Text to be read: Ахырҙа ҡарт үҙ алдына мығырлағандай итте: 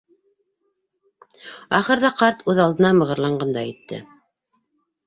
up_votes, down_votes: 1, 2